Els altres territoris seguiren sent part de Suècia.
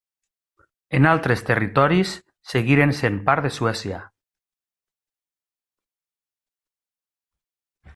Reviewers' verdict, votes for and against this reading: rejected, 0, 2